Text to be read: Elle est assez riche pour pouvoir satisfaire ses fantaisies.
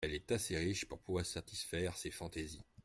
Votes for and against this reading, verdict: 2, 1, accepted